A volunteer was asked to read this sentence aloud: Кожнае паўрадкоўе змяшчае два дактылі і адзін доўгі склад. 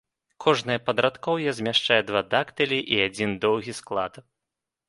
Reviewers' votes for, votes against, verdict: 0, 2, rejected